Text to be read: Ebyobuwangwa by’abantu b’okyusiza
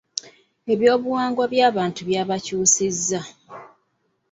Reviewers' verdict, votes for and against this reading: rejected, 1, 2